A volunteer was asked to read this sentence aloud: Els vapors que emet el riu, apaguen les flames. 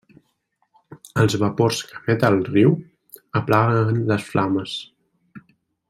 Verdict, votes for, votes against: rejected, 1, 2